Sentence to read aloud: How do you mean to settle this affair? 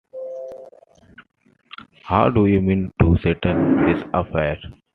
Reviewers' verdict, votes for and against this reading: accepted, 2, 0